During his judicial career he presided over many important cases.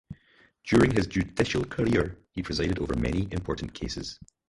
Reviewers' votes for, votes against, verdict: 2, 2, rejected